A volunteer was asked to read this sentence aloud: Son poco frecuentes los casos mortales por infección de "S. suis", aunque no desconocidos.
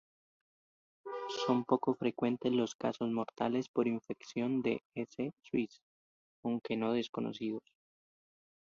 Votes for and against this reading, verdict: 0, 2, rejected